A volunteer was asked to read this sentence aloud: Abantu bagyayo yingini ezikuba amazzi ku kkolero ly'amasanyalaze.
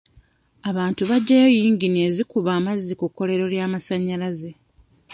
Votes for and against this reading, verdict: 2, 0, accepted